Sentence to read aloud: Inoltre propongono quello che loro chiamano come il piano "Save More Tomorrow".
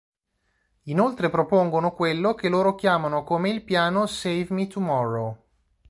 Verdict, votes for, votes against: rejected, 0, 2